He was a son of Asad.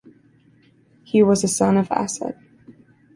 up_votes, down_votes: 2, 0